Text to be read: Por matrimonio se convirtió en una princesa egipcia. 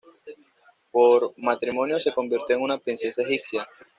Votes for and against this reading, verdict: 2, 0, accepted